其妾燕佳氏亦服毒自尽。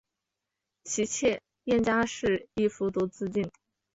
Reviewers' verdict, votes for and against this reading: accepted, 2, 0